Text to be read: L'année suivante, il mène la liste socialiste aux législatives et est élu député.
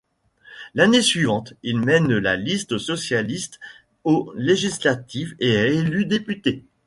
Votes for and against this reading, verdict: 1, 2, rejected